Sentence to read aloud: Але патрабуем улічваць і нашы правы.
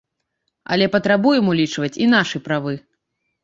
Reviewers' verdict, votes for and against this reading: rejected, 1, 2